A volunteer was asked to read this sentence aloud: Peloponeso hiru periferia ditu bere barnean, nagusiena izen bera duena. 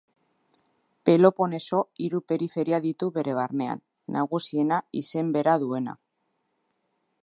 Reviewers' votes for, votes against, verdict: 2, 0, accepted